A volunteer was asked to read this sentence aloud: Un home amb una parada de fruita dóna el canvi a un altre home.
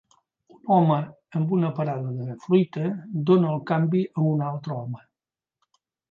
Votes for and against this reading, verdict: 0, 2, rejected